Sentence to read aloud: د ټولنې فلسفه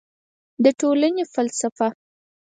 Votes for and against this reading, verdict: 4, 0, accepted